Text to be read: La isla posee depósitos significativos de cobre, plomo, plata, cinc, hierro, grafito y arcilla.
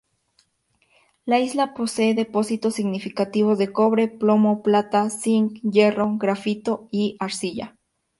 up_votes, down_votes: 2, 0